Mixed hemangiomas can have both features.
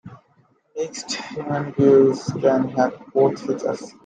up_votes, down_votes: 0, 2